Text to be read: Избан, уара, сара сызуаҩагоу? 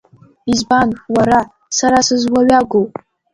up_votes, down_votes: 1, 2